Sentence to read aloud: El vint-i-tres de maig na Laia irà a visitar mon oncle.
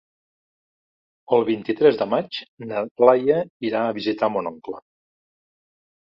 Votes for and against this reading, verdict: 2, 0, accepted